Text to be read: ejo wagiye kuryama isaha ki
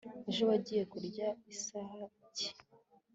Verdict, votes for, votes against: accepted, 4, 0